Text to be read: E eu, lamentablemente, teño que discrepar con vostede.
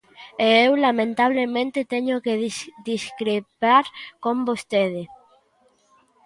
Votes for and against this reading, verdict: 0, 2, rejected